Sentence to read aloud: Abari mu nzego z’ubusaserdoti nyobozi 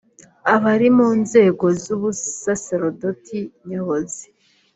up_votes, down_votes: 2, 0